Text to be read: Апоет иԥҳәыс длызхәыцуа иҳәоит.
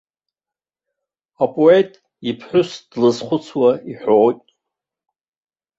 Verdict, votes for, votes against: rejected, 1, 2